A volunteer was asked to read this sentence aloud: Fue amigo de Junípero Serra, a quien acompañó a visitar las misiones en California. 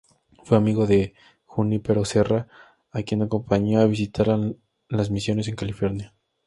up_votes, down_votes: 2, 2